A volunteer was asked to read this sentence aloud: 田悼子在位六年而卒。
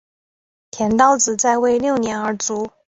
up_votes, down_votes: 3, 0